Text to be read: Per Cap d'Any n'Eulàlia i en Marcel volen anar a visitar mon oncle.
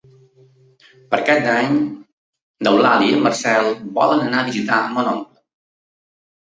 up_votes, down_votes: 1, 2